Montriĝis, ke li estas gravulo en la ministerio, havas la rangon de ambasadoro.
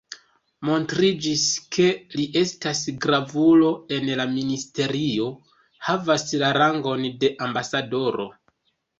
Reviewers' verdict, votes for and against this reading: rejected, 1, 2